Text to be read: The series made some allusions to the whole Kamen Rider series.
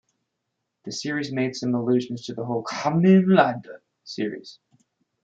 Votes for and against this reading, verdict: 1, 2, rejected